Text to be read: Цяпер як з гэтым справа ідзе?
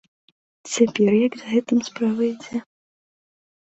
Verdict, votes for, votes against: accepted, 2, 0